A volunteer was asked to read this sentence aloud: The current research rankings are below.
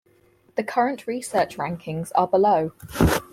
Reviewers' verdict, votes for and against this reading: rejected, 2, 4